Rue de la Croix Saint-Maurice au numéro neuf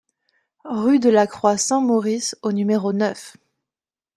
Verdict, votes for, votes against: accepted, 2, 0